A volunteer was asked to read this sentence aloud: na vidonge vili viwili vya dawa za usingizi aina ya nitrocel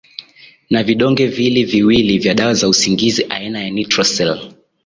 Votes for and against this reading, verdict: 2, 0, accepted